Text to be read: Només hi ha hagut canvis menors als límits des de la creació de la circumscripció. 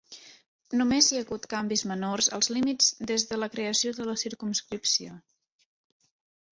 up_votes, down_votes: 3, 0